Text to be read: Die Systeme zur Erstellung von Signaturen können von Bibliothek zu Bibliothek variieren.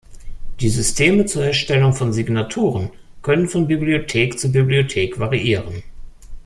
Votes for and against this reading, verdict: 2, 0, accepted